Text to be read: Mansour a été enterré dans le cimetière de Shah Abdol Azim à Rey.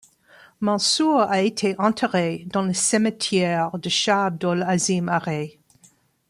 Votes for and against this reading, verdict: 2, 1, accepted